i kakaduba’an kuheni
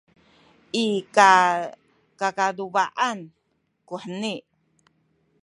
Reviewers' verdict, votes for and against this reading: rejected, 0, 2